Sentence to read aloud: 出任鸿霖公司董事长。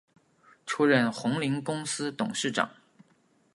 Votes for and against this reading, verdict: 2, 0, accepted